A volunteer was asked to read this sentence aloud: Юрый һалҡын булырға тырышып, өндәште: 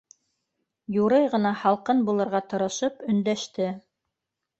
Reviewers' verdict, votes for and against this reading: rejected, 0, 2